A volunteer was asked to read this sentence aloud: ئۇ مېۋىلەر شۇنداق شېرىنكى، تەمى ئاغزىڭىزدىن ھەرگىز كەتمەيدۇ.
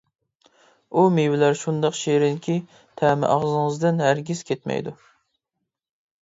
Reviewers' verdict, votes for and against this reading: accepted, 2, 0